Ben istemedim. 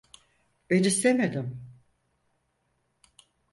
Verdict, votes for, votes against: accepted, 4, 0